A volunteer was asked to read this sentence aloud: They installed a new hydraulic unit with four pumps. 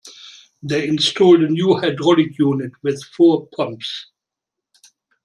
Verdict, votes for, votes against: accepted, 2, 1